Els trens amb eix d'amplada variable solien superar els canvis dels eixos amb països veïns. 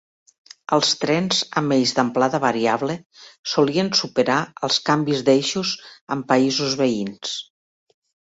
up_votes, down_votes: 1, 2